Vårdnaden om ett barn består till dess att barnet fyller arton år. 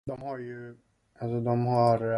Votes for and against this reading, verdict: 0, 2, rejected